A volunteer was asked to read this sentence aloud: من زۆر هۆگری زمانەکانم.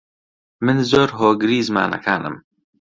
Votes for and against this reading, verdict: 2, 0, accepted